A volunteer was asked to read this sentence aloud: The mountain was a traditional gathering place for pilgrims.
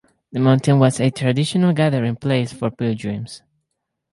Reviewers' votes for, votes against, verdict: 2, 4, rejected